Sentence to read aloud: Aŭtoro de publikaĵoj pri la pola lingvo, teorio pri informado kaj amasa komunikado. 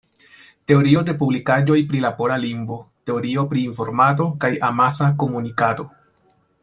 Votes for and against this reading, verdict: 0, 2, rejected